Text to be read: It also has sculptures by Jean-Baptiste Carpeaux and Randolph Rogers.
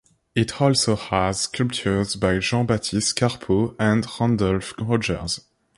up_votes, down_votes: 1, 2